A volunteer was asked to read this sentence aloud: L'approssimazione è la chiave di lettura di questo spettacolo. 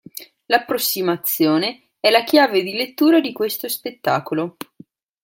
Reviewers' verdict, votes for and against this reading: accepted, 2, 0